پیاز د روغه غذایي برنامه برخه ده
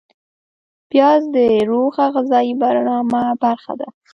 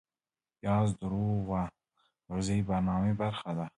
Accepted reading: second